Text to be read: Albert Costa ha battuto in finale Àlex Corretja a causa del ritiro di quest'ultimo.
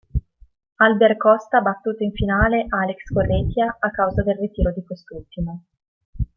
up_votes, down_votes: 2, 0